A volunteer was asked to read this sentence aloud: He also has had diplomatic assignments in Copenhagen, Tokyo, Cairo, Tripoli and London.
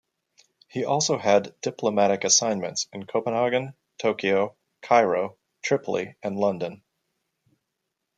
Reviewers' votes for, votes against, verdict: 1, 2, rejected